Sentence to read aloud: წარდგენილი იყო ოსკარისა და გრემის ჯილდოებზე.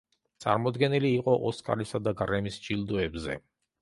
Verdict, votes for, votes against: rejected, 0, 2